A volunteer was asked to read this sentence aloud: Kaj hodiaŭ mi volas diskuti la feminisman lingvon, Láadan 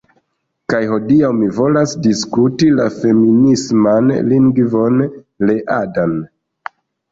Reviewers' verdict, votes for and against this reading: rejected, 1, 2